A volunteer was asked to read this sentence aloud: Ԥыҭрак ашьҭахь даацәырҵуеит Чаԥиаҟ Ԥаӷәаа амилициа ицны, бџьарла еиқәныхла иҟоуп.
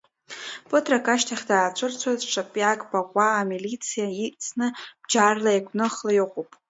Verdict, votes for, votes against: rejected, 1, 2